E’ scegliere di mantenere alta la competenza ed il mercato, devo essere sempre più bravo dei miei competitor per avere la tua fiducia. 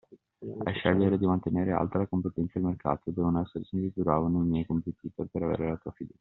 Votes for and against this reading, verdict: 0, 2, rejected